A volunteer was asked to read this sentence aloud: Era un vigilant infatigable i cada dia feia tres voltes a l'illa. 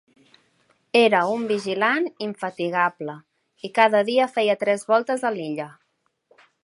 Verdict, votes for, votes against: accepted, 2, 0